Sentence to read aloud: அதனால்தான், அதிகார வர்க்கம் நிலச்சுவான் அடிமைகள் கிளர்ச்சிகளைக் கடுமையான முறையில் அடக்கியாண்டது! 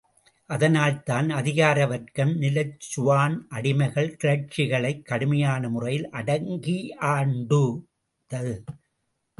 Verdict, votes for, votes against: rejected, 0, 2